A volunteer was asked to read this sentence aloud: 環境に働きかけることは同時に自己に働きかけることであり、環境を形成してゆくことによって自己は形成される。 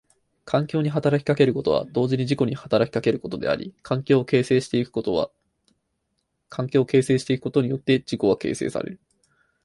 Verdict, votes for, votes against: rejected, 0, 4